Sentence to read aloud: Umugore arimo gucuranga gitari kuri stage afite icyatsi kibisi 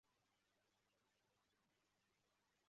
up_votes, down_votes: 0, 2